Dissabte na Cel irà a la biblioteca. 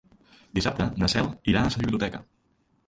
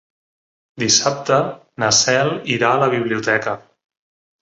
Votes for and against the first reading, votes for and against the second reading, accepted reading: 0, 2, 3, 0, second